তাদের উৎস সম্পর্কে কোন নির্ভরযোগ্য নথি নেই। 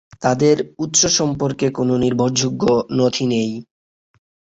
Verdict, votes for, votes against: accepted, 6, 0